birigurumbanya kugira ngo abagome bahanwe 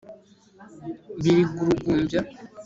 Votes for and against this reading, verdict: 1, 2, rejected